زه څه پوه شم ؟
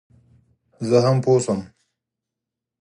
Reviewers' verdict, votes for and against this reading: rejected, 2, 4